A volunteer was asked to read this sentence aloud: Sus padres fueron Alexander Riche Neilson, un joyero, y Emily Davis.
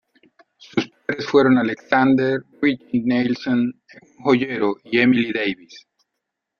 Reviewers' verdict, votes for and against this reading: rejected, 0, 2